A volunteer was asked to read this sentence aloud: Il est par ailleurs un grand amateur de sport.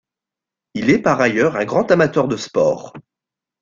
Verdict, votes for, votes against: accepted, 2, 0